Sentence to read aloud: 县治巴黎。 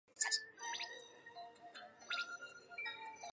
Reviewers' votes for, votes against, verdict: 0, 5, rejected